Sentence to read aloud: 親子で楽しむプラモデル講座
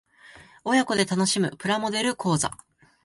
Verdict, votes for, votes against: accepted, 2, 0